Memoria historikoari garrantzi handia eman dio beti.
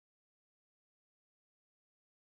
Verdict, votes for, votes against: rejected, 0, 8